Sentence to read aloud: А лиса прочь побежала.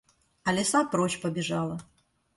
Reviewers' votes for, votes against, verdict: 2, 0, accepted